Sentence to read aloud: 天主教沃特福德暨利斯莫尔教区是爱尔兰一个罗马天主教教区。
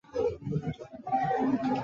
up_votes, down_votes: 0, 2